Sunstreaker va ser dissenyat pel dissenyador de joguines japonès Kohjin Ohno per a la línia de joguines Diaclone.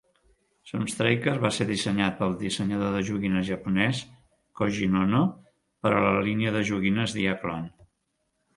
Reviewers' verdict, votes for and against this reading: accepted, 2, 0